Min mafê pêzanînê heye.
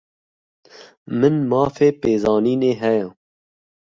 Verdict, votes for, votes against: accepted, 2, 0